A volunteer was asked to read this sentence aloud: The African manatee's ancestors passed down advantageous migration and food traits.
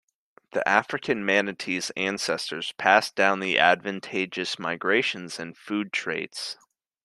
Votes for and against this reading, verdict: 1, 2, rejected